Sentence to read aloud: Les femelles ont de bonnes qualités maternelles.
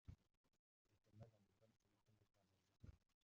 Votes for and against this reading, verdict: 0, 2, rejected